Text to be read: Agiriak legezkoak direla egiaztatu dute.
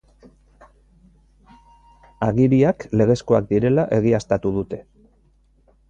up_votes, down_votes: 3, 1